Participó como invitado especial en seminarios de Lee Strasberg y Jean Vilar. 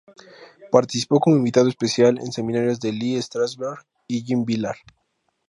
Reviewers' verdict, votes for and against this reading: accepted, 2, 0